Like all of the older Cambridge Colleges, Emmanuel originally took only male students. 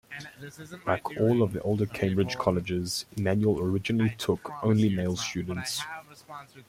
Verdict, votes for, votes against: accepted, 2, 1